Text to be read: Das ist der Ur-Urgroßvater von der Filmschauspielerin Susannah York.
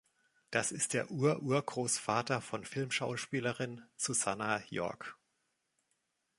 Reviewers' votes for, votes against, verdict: 1, 2, rejected